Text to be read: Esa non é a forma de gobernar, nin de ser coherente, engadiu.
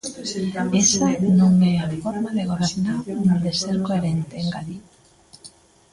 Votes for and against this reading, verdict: 0, 2, rejected